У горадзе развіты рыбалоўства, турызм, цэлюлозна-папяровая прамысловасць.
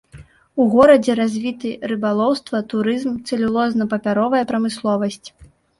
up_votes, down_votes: 0, 2